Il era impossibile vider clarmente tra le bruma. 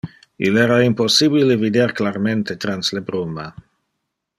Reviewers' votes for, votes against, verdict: 1, 2, rejected